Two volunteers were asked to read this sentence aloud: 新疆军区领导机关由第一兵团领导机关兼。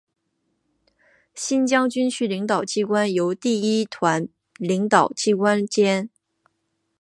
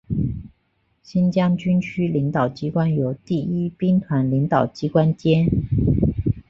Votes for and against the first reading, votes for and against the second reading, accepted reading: 0, 3, 2, 1, second